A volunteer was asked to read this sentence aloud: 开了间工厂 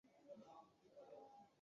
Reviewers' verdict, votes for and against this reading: rejected, 0, 3